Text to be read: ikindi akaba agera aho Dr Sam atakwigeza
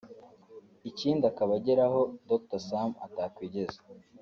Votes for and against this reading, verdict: 2, 0, accepted